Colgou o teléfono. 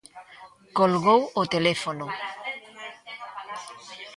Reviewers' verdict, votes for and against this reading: rejected, 1, 2